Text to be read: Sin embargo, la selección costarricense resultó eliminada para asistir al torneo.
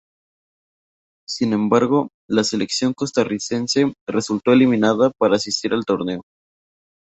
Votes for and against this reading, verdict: 2, 0, accepted